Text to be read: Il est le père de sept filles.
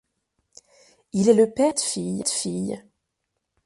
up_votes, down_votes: 0, 2